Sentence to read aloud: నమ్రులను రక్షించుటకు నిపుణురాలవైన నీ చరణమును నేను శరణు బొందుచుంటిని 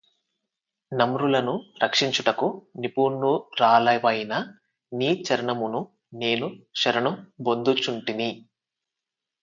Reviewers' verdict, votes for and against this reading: rejected, 0, 4